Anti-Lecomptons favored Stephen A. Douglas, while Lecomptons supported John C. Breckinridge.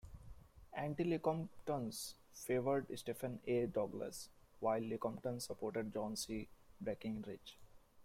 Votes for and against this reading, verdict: 1, 2, rejected